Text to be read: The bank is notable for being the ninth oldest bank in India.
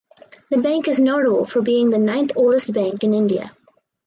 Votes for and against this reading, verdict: 4, 0, accepted